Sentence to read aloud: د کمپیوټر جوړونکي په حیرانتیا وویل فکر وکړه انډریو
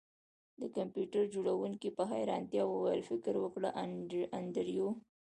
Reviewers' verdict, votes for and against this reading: accepted, 2, 0